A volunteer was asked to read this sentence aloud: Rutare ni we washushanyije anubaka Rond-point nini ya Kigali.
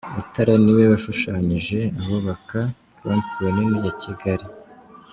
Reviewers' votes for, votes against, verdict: 2, 1, accepted